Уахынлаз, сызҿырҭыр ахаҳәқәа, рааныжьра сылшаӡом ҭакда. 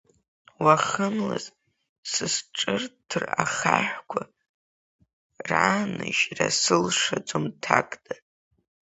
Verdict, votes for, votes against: rejected, 0, 2